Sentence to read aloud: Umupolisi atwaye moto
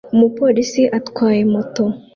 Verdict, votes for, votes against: accepted, 2, 0